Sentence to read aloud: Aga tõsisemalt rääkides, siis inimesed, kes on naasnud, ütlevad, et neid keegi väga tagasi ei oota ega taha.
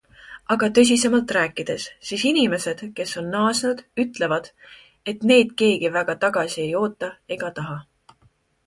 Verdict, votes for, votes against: accepted, 2, 0